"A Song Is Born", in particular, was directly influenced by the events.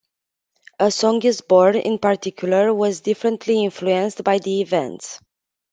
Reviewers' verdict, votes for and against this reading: rejected, 0, 2